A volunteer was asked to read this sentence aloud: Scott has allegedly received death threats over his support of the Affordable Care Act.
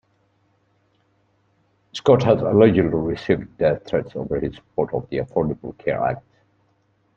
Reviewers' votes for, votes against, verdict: 2, 0, accepted